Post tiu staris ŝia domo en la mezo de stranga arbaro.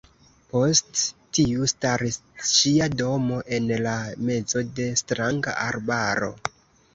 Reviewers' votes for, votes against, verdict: 0, 2, rejected